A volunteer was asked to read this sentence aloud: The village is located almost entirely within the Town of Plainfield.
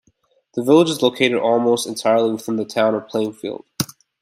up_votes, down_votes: 2, 0